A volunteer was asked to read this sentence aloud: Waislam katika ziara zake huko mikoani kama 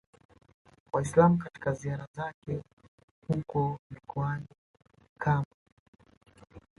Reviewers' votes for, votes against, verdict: 0, 2, rejected